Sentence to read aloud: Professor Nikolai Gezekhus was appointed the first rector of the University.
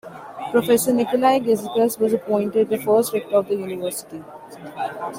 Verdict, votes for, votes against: rejected, 1, 2